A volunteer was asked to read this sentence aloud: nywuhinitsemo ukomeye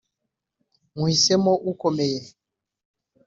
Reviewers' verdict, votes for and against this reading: accepted, 3, 2